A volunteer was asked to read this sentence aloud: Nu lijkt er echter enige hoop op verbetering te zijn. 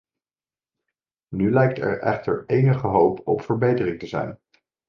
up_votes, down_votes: 2, 0